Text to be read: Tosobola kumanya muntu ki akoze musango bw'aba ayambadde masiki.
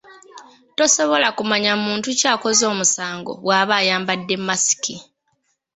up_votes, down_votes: 2, 1